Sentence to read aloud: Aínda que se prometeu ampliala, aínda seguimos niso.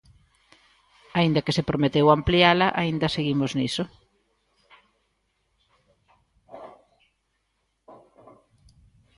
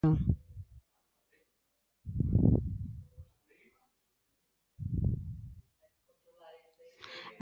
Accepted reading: first